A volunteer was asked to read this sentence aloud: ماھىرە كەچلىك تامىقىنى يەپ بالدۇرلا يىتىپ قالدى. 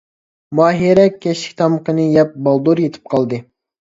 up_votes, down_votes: 0, 2